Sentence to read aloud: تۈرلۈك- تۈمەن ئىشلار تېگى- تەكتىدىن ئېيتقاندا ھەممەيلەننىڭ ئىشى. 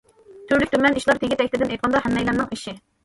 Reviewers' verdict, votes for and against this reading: accepted, 2, 0